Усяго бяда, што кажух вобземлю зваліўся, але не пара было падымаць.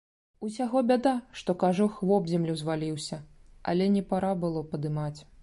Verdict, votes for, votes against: accepted, 2, 0